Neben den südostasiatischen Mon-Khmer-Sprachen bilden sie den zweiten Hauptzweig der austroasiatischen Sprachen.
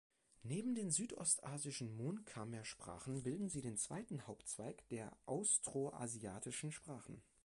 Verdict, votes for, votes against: rejected, 1, 2